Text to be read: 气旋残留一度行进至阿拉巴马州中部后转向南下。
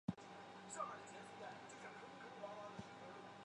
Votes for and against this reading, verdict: 0, 2, rejected